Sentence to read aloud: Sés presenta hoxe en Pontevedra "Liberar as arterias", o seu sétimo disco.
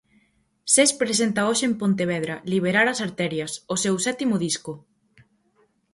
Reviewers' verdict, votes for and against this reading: accepted, 4, 0